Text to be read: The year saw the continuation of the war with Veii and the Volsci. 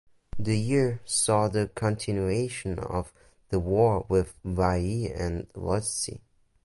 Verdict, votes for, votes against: rejected, 0, 2